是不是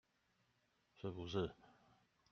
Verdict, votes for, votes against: rejected, 1, 2